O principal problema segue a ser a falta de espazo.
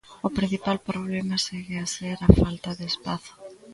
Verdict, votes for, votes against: rejected, 0, 2